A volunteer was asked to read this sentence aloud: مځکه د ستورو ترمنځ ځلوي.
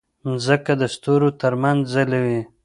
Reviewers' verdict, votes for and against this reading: accepted, 2, 0